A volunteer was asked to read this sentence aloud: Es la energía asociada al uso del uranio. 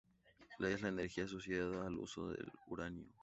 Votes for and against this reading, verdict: 2, 0, accepted